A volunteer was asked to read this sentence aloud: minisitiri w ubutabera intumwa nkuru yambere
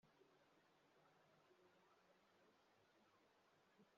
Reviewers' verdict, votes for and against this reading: rejected, 0, 3